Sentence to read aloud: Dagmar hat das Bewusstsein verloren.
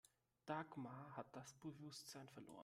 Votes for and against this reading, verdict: 2, 0, accepted